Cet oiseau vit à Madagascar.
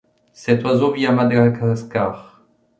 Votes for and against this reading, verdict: 1, 2, rejected